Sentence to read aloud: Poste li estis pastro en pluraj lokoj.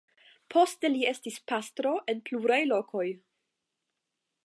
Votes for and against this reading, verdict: 5, 5, rejected